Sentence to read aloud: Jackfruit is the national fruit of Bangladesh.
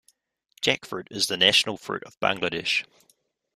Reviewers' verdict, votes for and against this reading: accepted, 2, 0